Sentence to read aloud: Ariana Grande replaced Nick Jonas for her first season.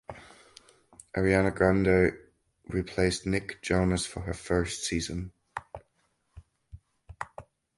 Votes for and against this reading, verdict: 2, 2, rejected